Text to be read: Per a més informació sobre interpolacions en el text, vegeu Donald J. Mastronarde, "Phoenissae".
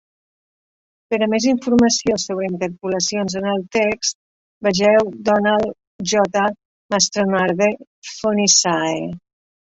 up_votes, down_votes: 2, 1